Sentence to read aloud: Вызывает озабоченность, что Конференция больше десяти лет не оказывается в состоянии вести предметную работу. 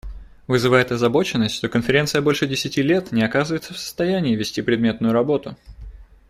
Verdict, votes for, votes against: accepted, 2, 0